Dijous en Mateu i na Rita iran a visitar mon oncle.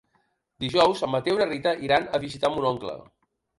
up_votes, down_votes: 3, 0